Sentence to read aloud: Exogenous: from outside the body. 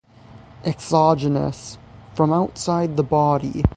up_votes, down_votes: 6, 0